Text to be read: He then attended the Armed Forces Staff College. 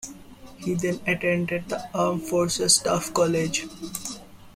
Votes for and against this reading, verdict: 2, 0, accepted